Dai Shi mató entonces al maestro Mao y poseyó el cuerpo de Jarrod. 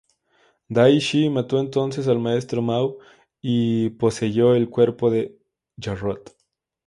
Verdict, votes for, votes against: accepted, 2, 0